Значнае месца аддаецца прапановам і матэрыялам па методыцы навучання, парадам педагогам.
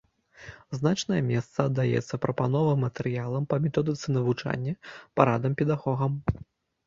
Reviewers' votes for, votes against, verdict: 0, 2, rejected